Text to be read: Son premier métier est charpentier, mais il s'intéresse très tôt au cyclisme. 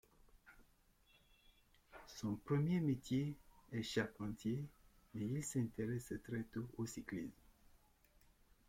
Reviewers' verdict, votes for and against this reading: accepted, 2, 0